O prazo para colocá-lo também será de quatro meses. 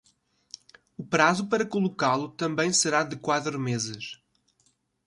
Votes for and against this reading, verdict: 1, 2, rejected